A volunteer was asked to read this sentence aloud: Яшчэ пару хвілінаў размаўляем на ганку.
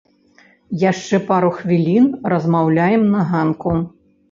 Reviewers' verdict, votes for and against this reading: rejected, 0, 2